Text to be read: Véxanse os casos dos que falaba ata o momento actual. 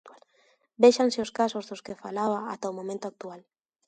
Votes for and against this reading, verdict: 2, 0, accepted